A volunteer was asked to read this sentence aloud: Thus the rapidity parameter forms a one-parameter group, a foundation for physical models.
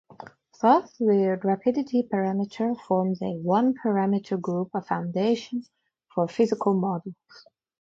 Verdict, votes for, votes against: rejected, 0, 4